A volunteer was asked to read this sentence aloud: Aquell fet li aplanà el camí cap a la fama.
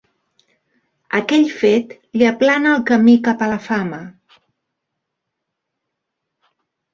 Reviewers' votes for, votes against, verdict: 0, 3, rejected